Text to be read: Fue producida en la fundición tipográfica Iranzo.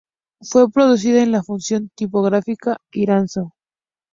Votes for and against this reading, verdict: 0, 2, rejected